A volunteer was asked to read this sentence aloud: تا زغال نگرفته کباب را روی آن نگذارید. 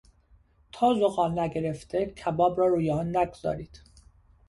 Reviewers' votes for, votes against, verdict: 2, 0, accepted